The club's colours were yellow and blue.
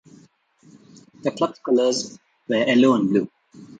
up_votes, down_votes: 1, 2